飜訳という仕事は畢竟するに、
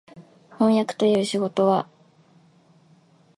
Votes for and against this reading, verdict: 2, 3, rejected